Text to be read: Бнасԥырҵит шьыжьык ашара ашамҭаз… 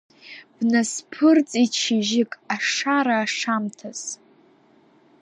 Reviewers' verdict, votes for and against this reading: accepted, 3, 1